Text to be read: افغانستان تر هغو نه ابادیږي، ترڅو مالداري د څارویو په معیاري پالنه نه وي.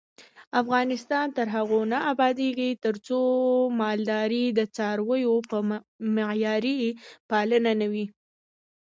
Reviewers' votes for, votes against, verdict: 2, 0, accepted